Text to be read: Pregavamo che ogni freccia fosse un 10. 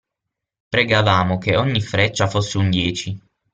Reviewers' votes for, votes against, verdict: 0, 2, rejected